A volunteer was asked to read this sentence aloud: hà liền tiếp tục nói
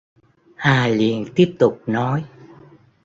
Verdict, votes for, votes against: accepted, 2, 0